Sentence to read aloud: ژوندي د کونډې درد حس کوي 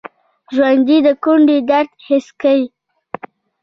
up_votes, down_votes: 0, 2